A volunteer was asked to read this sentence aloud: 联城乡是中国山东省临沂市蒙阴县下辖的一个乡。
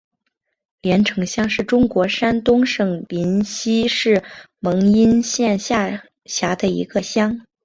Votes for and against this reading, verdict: 1, 3, rejected